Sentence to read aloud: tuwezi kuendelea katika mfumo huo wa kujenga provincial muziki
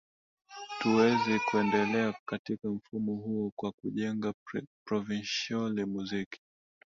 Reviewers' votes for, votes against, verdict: 0, 2, rejected